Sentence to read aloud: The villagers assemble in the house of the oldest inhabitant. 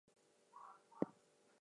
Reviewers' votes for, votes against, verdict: 0, 4, rejected